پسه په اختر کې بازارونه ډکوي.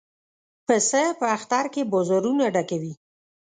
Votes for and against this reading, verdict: 1, 2, rejected